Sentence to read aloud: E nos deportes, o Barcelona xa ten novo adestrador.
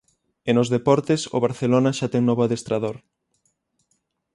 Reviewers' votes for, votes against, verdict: 6, 0, accepted